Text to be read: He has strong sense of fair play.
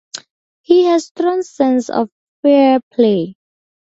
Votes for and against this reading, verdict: 4, 0, accepted